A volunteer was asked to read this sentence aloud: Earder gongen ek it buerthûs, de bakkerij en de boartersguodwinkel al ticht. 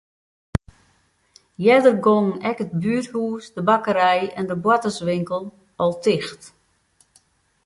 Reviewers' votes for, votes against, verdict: 0, 4, rejected